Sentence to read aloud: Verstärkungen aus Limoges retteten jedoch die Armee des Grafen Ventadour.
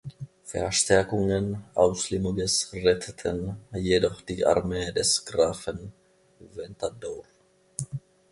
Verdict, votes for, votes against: rejected, 0, 2